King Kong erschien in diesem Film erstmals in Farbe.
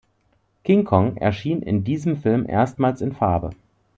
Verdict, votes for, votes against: accepted, 2, 0